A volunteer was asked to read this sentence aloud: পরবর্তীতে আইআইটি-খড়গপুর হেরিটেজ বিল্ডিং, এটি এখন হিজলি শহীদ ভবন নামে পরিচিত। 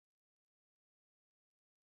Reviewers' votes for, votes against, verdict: 0, 2, rejected